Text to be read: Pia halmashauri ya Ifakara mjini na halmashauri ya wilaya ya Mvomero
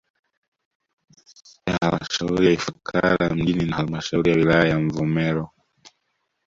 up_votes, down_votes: 1, 2